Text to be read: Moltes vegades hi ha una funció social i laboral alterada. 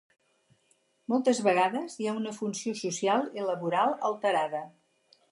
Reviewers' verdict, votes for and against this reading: accepted, 4, 0